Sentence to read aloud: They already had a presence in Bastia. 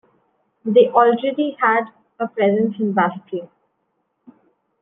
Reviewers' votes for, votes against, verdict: 1, 2, rejected